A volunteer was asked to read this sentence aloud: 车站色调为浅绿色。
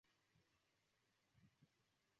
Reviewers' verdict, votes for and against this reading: rejected, 1, 3